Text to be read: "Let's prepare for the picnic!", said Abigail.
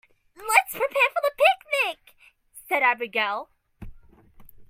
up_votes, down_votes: 2, 0